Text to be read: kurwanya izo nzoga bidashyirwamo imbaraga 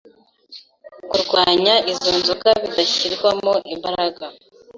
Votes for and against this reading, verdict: 2, 0, accepted